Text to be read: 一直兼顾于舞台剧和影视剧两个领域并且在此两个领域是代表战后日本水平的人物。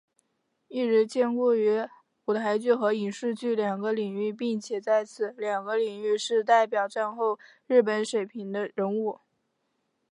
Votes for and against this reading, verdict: 2, 0, accepted